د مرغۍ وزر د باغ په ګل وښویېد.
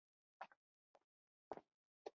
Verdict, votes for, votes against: accepted, 2, 0